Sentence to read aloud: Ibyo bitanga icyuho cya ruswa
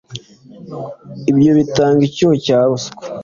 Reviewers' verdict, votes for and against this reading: accepted, 2, 0